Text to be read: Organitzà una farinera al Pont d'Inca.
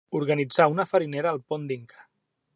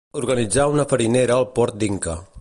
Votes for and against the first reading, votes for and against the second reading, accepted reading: 2, 0, 1, 2, first